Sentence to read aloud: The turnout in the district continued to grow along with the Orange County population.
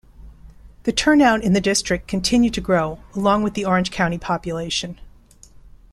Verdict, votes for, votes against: accepted, 2, 0